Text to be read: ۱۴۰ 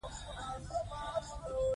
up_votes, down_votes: 0, 2